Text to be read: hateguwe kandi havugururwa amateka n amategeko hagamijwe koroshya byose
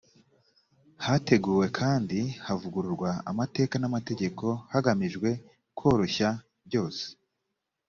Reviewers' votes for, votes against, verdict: 2, 0, accepted